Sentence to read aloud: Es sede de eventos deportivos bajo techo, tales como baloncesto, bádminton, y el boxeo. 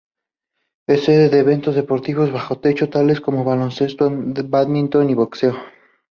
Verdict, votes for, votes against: rejected, 0, 2